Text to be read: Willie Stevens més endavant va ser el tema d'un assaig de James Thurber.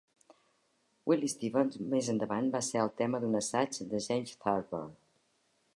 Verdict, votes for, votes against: accepted, 2, 0